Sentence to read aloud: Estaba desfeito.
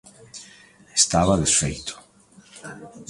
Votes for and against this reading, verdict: 1, 2, rejected